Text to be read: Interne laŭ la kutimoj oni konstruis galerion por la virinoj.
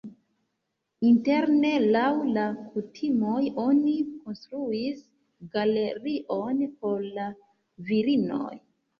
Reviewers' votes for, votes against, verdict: 2, 1, accepted